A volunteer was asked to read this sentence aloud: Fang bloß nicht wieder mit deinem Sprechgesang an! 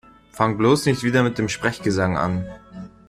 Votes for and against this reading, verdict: 0, 2, rejected